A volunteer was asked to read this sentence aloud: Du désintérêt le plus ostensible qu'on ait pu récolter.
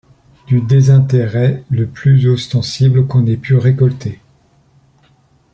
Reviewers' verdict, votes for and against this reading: accepted, 2, 0